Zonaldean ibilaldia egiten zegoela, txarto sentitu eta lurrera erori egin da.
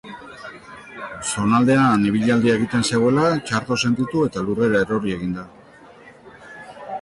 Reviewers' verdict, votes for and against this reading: accepted, 2, 0